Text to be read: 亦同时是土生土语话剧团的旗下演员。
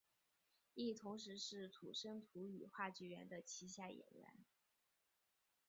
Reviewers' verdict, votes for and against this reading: rejected, 0, 2